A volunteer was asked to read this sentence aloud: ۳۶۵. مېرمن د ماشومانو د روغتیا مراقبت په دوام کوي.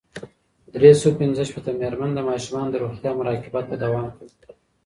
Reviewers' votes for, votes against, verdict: 0, 2, rejected